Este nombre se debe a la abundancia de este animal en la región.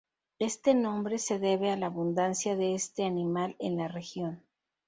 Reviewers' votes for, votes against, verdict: 2, 0, accepted